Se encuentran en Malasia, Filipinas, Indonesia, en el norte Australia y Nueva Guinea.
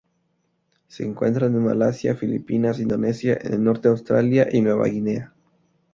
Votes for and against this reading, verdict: 0, 2, rejected